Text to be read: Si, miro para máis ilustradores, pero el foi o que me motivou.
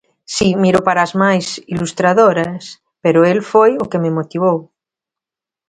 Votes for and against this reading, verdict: 0, 3, rejected